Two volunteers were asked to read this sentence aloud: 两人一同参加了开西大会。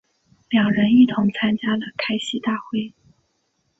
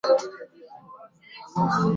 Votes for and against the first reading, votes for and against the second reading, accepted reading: 2, 0, 0, 4, first